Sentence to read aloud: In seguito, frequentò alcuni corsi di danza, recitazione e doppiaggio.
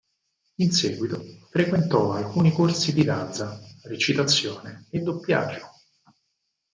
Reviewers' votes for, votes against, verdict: 0, 4, rejected